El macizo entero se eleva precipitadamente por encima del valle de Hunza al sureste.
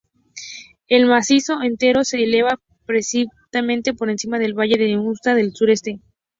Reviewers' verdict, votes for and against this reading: rejected, 2, 2